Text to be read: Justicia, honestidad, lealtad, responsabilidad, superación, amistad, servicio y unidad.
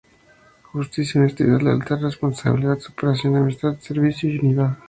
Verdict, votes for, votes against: accepted, 2, 0